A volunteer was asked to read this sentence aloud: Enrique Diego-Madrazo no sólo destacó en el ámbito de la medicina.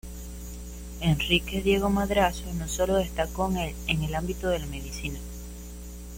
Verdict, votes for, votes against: rejected, 0, 2